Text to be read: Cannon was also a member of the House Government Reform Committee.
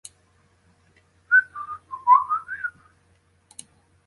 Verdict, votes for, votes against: rejected, 0, 2